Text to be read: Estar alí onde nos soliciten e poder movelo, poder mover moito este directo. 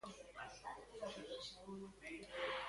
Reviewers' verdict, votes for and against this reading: rejected, 0, 2